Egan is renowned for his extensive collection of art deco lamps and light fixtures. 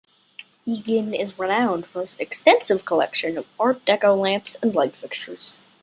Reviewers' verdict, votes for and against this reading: accepted, 2, 0